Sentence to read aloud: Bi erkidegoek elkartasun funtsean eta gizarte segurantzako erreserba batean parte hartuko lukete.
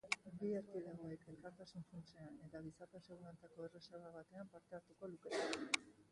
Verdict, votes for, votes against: rejected, 0, 2